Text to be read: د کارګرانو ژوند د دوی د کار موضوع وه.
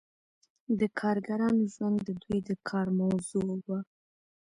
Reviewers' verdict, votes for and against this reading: accepted, 2, 0